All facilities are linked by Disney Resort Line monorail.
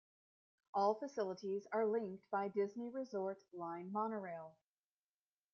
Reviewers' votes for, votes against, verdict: 0, 2, rejected